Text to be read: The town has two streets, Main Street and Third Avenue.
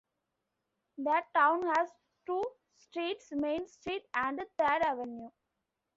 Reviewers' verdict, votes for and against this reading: accepted, 2, 0